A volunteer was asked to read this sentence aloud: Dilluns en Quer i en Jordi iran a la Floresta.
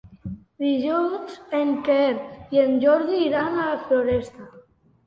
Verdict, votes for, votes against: accepted, 2, 0